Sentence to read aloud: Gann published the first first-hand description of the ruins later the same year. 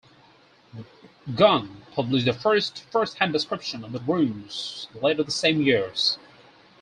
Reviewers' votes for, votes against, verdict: 0, 4, rejected